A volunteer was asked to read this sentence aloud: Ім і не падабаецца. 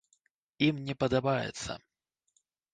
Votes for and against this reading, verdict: 1, 2, rejected